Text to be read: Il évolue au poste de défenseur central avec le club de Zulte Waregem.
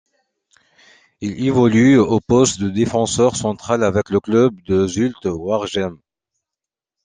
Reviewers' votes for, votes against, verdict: 2, 1, accepted